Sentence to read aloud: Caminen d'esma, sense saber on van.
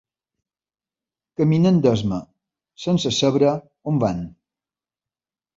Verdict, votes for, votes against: rejected, 1, 2